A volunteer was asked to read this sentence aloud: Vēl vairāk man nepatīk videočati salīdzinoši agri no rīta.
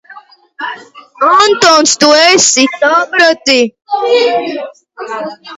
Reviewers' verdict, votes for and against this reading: rejected, 0, 3